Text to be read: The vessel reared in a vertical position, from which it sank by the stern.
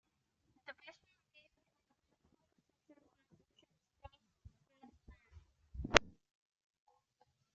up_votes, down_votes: 0, 2